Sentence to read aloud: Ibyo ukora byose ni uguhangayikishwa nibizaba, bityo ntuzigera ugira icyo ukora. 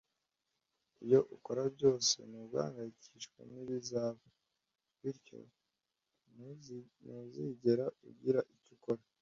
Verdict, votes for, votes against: rejected, 0, 2